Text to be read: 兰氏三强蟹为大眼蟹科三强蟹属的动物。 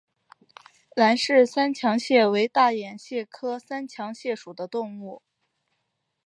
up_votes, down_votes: 4, 1